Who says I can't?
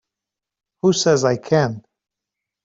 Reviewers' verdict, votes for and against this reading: rejected, 1, 2